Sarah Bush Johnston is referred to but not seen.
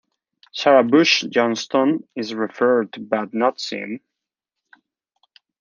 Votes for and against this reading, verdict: 2, 1, accepted